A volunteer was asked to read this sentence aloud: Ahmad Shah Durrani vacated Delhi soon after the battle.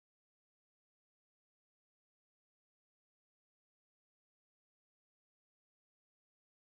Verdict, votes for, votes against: rejected, 0, 2